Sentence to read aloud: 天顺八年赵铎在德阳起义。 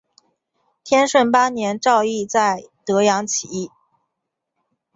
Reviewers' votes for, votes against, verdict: 0, 2, rejected